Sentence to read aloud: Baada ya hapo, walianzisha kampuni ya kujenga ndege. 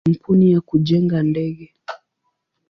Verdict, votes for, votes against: rejected, 0, 2